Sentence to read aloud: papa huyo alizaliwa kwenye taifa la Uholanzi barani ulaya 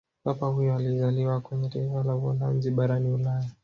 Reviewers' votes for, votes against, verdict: 2, 0, accepted